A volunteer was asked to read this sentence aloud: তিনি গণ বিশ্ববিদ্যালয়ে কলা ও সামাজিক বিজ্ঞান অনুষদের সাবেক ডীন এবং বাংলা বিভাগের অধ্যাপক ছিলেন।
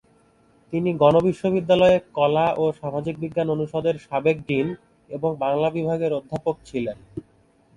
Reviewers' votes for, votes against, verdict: 2, 0, accepted